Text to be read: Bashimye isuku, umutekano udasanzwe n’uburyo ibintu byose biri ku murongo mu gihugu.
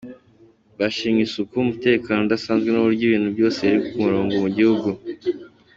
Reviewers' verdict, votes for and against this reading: accepted, 2, 0